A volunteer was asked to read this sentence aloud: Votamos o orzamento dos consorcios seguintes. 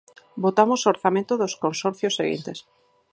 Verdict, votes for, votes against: accepted, 4, 0